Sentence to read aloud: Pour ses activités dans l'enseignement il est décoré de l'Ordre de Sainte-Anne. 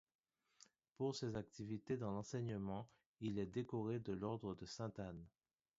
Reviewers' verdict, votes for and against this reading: accepted, 2, 0